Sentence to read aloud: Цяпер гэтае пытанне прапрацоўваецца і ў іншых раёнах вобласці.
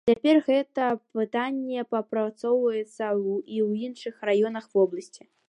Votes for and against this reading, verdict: 1, 2, rejected